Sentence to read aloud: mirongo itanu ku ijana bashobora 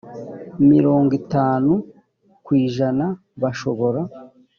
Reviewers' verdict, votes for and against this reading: accepted, 3, 0